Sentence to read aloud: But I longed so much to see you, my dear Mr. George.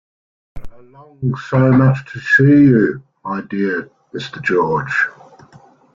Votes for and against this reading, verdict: 2, 1, accepted